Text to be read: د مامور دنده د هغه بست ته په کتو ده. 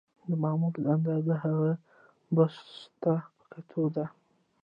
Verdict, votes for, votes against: rejected, 1, 2